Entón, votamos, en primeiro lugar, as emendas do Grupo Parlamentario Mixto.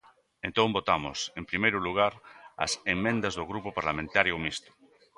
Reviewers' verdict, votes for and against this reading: rejected, 2, 3